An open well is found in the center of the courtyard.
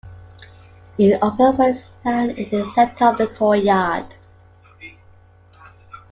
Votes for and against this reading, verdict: 0, 2, rejected